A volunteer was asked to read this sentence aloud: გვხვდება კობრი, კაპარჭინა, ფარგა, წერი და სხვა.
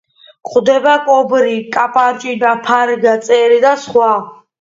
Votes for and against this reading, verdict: 2, 0, accepted